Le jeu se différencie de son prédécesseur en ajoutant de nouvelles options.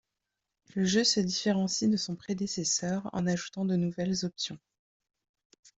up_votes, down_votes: 2, 0